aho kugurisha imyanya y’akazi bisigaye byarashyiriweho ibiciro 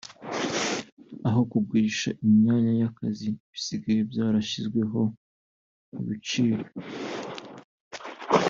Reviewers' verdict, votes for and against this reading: rejected, 1, 2